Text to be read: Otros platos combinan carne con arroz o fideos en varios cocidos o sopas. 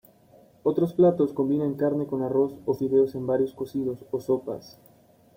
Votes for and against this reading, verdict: 2, 0, accepted